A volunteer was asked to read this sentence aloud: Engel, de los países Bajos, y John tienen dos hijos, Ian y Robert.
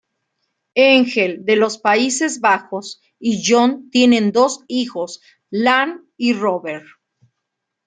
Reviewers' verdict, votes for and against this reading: rejected, 1, 2